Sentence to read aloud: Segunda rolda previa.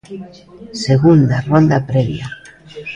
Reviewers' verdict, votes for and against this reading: accepted, 2, 0